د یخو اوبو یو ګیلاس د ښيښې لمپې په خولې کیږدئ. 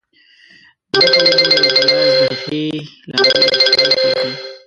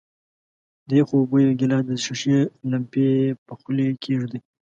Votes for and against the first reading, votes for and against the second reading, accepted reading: 0, 2, 2, 0, second